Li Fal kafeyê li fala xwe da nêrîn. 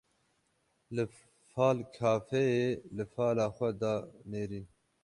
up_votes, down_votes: 12, 0